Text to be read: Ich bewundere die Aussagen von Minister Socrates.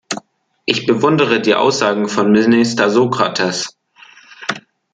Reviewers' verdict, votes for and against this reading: rejected, 1, 2